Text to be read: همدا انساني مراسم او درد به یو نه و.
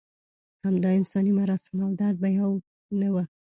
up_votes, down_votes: 1, 2